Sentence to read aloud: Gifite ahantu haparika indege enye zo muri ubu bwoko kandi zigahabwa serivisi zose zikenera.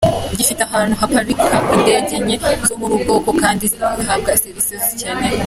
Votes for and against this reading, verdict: 0, 2, rejected